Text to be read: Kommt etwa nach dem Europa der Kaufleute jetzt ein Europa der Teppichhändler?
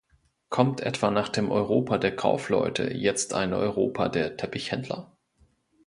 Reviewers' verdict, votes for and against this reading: accepted, 2, 0